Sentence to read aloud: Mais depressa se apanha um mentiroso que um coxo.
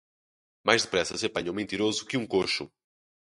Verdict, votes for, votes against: rejected, 0, 2